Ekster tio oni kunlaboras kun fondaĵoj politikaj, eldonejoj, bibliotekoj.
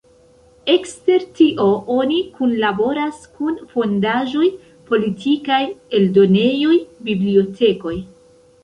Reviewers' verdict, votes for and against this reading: accepted, 2, 1